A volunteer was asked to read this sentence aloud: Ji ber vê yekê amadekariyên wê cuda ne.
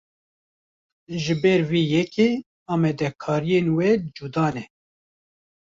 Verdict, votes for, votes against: rejected, 1, 2